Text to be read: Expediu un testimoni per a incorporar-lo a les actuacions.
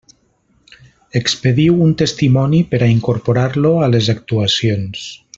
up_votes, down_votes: 3, 0